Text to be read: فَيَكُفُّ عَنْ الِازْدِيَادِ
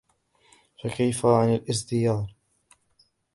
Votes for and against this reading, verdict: 1, 2, rejected